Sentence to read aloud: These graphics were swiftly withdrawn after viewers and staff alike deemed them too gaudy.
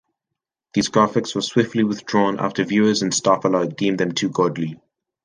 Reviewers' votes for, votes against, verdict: 1, 2, rejected